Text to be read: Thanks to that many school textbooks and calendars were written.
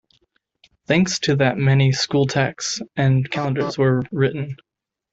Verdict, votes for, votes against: rejected, 0, 2